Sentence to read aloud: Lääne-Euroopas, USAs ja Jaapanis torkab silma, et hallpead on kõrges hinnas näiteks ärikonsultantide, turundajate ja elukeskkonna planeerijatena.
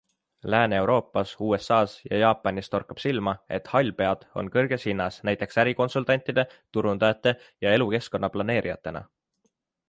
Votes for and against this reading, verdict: 2, 1, accepted